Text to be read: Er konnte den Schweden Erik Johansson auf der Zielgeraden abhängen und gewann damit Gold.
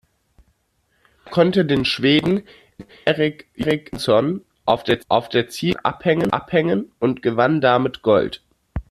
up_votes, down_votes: 0, 2